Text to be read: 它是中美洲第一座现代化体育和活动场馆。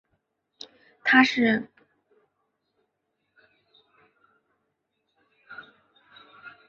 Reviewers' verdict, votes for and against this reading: rejected, 0, 2